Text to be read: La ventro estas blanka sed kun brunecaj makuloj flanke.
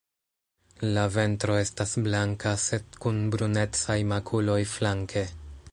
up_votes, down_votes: 2, 0